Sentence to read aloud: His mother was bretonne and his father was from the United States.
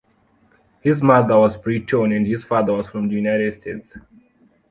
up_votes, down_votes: 1, 2